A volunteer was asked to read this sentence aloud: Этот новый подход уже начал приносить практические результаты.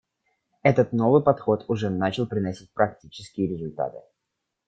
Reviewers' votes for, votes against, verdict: 1, 2, rejected